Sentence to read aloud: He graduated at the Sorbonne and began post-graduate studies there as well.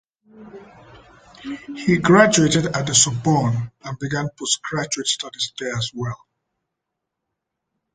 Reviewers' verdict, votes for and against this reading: rejected, 1, 2